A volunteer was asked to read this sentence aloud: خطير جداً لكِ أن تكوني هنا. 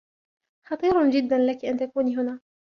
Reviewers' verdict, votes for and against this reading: accepted, 2, 0